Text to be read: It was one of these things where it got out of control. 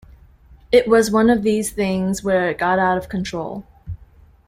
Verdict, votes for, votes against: accepted, 2, 0